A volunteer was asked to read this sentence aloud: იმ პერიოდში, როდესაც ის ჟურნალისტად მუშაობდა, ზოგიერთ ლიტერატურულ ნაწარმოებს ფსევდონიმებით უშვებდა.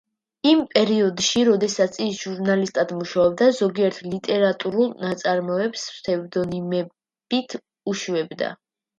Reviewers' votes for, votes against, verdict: 2, 0, accepted